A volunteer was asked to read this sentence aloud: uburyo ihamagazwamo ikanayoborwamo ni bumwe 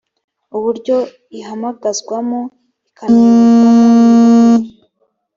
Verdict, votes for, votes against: rejected, 0, 3